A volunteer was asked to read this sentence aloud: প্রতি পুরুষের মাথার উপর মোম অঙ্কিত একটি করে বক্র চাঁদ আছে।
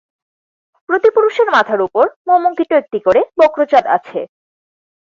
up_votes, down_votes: 2, 4